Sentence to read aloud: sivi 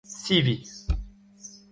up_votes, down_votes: 0, 2